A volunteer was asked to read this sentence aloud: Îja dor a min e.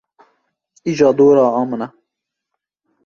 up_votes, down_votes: 1, 2